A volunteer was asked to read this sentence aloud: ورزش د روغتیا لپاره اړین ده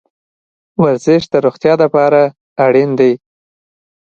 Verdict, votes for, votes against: accepted, 2, 0